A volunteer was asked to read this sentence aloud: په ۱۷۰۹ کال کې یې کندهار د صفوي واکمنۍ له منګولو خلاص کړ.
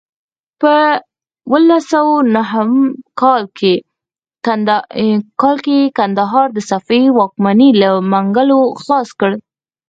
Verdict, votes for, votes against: rejected, 0, 2